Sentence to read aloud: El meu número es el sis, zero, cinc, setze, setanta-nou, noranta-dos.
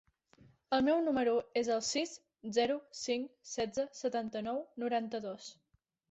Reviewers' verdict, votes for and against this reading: accepted, 3, 0